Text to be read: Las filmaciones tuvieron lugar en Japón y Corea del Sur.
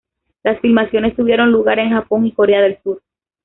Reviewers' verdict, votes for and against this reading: accepted, 2, 1